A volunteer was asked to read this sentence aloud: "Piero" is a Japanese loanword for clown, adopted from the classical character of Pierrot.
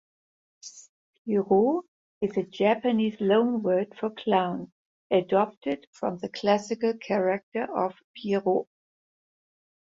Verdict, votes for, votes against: rejected, 0, 2